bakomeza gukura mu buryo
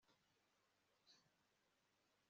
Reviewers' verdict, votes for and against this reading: rejected, 0, 2